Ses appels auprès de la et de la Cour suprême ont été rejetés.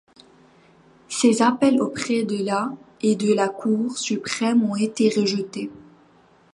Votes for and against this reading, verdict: 2, 0, accepted